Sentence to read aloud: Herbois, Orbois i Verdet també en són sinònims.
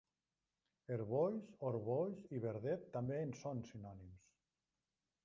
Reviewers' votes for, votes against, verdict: 0, 2, rejected